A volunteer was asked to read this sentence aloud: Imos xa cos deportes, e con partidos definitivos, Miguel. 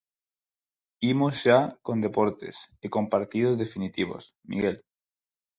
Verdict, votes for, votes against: rejected, 0, 4